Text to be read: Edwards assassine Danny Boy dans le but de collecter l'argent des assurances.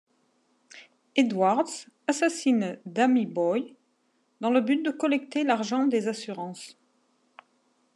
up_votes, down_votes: 1, 2